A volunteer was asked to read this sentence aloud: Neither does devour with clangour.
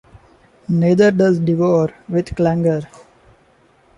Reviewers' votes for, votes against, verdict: 0, 2, rejected